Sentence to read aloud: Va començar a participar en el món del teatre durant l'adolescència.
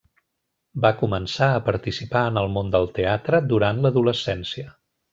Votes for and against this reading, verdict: 1, 2, rejected